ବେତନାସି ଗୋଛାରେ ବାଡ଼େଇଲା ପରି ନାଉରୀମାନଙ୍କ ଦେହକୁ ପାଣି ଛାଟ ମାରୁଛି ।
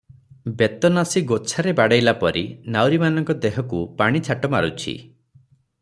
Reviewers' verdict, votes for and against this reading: rejected, 3, 3